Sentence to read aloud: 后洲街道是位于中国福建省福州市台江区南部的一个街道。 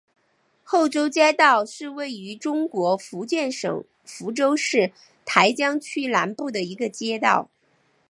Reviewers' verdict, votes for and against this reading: accepted, 4, 0